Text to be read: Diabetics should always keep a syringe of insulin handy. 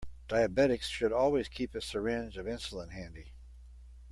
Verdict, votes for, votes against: accepted, 2, 0